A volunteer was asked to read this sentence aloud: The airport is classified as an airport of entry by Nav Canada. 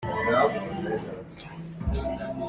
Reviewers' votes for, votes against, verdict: 0, 2, rejected